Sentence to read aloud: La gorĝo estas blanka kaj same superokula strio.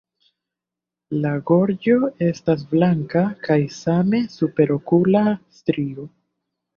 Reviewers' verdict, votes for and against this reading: accepted, 2, 0